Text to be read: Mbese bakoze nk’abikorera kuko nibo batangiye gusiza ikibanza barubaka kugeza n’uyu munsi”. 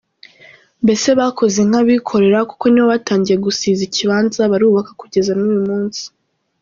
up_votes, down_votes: 2, 0